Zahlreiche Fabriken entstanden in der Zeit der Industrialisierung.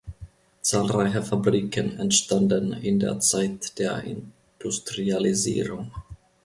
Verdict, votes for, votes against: rejected, 1, 2